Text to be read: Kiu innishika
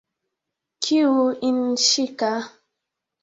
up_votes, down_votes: 2, 1